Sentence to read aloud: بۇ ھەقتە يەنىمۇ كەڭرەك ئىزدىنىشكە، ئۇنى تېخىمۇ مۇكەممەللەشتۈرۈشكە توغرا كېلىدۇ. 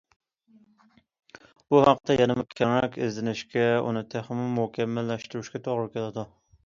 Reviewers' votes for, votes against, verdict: 2, 0, accepted